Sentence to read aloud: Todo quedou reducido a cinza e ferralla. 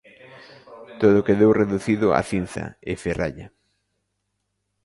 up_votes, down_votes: 2, 1